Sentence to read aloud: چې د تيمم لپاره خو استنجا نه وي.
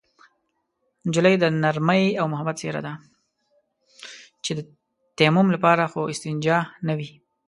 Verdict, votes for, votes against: rejected, 0, 2